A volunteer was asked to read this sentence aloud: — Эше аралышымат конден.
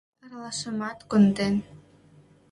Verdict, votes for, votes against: rejected, 1, 2